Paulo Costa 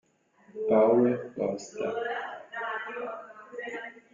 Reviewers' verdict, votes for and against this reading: rejected, 0, 2